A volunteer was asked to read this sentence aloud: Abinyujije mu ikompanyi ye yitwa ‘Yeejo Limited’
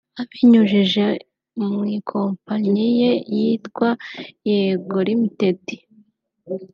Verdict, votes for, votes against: rejected, 0, 2